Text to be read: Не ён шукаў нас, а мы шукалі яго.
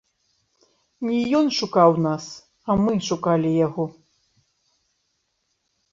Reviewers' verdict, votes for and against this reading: accepted, 2, 0